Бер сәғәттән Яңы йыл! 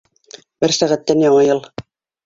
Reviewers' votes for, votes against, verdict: 2, 0, accepted